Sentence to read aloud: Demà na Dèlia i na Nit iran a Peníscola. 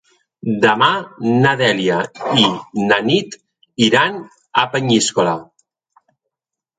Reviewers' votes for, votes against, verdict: 1, 2, rejected